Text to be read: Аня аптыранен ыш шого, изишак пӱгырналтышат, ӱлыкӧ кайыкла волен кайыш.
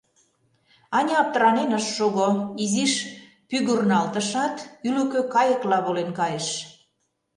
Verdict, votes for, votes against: rejected, 0, 2